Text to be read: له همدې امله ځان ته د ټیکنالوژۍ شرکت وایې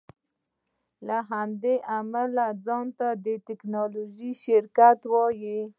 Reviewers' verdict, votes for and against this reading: accepted, 2, 0